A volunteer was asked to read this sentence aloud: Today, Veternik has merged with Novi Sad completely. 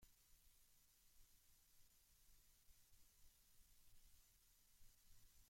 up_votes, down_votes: 0, 2